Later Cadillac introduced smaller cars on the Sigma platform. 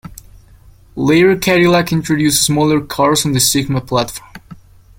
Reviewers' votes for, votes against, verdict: 1, 2, rejected